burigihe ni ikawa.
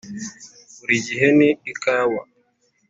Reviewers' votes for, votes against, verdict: 2, 0, accepted